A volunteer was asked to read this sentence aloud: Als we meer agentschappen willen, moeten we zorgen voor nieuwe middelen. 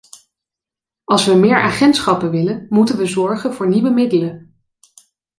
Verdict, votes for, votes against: accepted, 2, 0